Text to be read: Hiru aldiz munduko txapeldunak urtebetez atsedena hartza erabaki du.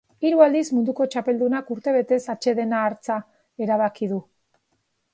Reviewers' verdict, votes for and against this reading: accepted, 2, 0